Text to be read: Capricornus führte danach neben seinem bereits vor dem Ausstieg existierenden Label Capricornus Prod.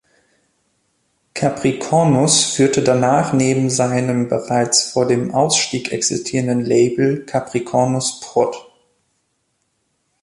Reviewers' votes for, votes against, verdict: 2, 0, accepted